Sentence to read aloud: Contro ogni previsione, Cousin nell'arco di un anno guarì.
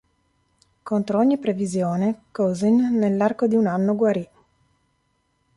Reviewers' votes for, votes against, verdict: 2, 0, accepted